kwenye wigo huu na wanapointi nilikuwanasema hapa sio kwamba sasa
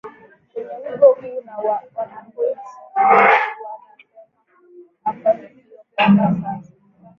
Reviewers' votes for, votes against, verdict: 0, 10, rejected